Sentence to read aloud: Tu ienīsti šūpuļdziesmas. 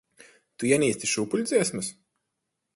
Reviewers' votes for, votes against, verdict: 2, 4, rejected